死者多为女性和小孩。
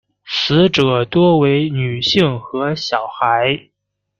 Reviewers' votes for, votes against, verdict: 2, 0, accepted